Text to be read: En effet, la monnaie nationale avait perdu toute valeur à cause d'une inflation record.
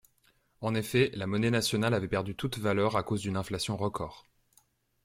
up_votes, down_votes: 2, 0